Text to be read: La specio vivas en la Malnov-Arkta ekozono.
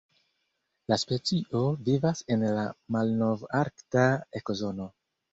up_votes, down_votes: 1, 2